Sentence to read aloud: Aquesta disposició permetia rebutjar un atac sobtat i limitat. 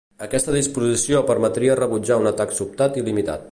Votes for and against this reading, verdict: 1, 2, rejected